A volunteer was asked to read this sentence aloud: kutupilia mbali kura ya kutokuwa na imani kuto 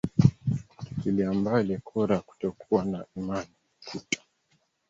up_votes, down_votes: 1, 2